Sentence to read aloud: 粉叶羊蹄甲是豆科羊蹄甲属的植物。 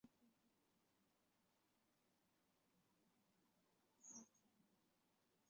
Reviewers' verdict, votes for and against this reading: rejected, 0, 2